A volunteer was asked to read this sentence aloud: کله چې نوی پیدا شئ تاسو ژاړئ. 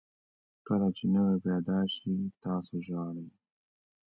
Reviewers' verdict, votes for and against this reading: accepted, 2, 0